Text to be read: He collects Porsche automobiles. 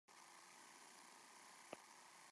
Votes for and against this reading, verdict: 0, 3, rejected